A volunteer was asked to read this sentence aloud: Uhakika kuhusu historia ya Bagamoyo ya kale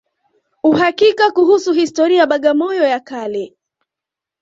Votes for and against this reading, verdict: 2, 0, accepted